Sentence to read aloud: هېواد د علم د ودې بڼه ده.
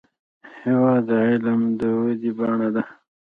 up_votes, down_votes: 0, 2